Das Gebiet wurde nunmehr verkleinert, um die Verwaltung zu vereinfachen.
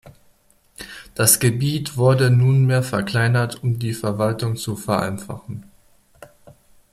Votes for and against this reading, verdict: 2, 0, accepted